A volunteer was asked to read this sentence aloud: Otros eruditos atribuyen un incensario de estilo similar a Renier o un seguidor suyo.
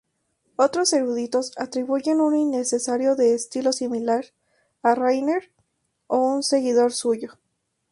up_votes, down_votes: 0, 2